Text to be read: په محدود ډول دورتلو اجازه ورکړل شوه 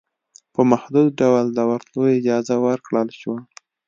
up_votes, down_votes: 2, 0